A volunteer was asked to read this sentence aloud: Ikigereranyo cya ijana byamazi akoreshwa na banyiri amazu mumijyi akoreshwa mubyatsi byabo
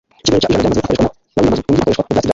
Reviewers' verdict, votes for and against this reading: rejected, 1, 2